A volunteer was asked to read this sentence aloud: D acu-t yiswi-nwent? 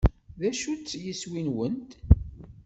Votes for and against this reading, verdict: 0, 2, rejected